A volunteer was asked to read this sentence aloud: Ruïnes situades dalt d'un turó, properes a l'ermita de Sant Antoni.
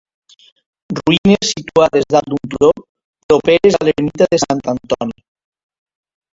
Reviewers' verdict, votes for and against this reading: rejected, 0, 2